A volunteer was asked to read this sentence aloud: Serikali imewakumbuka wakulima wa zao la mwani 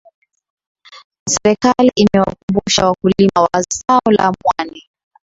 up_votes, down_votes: 1, 2